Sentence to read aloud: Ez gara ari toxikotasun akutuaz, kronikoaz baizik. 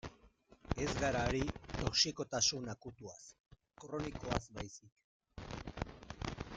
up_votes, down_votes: 1, 2